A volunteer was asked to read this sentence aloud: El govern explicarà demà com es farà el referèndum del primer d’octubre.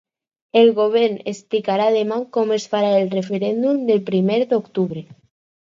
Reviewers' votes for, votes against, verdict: 2, 0, accepted